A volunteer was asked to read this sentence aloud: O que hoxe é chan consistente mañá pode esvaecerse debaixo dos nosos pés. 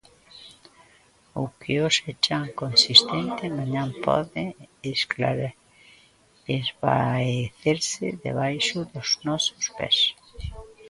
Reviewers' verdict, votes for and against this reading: rejected, 0, 2